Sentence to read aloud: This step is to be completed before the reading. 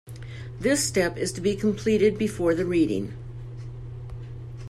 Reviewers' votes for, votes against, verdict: 2, 0, accepted